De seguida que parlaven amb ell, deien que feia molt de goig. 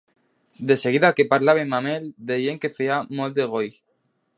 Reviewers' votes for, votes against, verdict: 1, 2, rejected